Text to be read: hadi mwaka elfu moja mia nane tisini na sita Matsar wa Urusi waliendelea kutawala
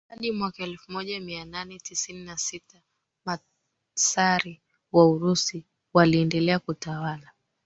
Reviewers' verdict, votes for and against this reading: accepted, 2, 1